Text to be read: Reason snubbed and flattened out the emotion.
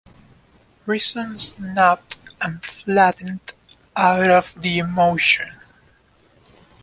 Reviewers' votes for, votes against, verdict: 1, 2, rejected